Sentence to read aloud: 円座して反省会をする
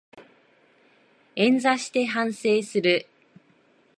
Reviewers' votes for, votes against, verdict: 5, 9, rejected